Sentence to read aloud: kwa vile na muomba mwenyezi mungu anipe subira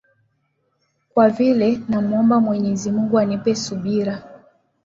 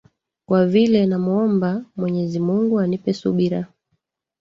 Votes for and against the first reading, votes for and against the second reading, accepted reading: 2, 0, 0, 2, first